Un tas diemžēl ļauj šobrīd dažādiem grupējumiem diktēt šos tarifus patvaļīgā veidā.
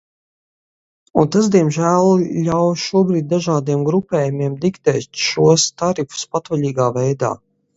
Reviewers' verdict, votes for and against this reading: accepted, 4, 0